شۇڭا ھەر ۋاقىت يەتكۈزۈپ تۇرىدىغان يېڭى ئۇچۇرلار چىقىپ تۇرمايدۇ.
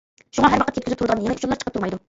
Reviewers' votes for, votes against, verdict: 0, 2, rejected